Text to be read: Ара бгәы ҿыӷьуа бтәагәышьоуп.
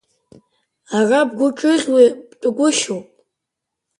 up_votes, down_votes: 3, 1